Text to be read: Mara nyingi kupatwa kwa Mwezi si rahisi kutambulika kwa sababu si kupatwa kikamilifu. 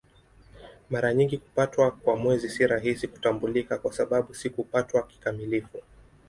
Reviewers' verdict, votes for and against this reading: accepted, 2, 0